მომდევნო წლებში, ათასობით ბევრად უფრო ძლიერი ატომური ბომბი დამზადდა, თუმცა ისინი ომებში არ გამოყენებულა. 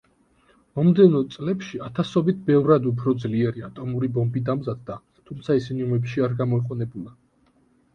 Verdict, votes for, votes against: rejected, 1, 2